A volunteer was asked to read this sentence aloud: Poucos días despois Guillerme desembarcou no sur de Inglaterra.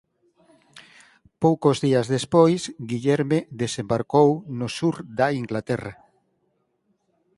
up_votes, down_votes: 2, 4